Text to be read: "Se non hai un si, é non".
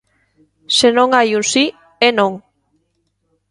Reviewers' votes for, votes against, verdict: 2, 0, accepted